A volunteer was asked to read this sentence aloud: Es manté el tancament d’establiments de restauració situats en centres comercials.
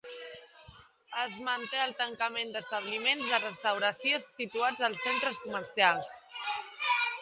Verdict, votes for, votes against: rejected, 1, 2